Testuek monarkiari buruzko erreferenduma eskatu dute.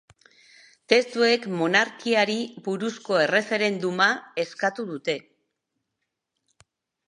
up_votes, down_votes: 2, 0